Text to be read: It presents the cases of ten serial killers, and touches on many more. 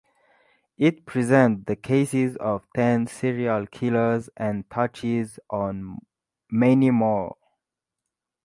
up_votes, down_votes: 2, 4